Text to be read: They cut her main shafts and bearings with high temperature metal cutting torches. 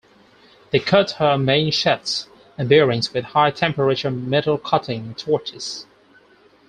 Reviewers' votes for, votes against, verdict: 4, 2, accepted